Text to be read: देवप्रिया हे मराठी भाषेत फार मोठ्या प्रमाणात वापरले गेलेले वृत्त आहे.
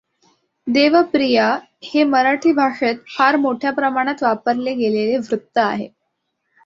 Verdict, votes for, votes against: accepted, 2, 0